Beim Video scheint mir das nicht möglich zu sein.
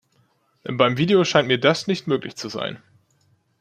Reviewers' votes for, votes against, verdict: 2, 0, accepted